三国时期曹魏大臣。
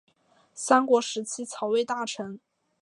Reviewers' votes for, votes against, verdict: 2, 0, accepted